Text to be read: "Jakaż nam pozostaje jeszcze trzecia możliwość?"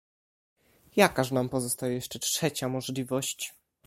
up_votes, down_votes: 2, 0